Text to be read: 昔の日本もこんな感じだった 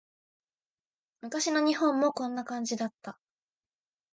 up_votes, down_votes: 2, 0